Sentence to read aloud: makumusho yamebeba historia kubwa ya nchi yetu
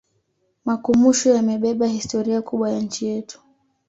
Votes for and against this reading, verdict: 2, 0, accepted